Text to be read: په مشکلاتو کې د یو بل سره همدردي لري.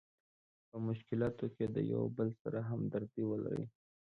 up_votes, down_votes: 1, 2